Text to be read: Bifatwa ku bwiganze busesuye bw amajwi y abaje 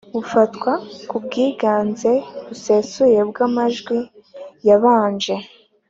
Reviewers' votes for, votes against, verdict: 4, 0, accepted